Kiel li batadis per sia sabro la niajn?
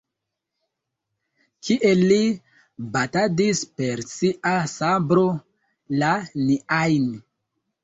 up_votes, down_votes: 0, 2